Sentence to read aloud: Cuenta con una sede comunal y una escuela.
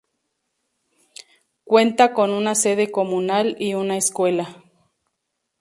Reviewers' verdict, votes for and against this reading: accepted, 2, 0